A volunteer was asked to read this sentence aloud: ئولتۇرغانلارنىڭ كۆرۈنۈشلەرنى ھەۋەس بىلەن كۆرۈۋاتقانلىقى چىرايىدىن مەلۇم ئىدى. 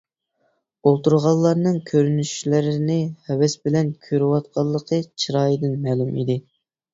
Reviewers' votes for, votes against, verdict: 1, 2, rejected